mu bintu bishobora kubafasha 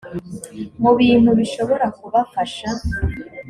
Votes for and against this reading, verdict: 2, 0, accepted